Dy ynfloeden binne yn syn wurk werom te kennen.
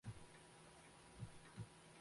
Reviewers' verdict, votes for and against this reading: rejected, 0, 2